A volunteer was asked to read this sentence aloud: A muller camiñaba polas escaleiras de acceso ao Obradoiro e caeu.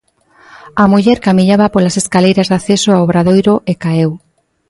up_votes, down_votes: 2, 0